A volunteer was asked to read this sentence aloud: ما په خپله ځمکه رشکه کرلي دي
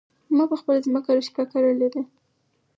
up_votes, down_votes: 4, 0